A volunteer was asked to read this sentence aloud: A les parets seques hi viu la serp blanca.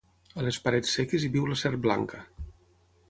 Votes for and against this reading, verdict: 6, 0, accepted